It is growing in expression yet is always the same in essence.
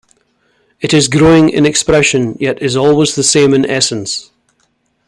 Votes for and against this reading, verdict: 2, 0, accepted